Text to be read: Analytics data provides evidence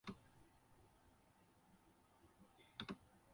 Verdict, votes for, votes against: rejected, 0, 6